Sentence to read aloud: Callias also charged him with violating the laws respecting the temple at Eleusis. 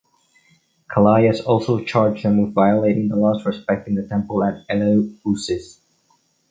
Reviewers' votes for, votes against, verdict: 0, 2, rejected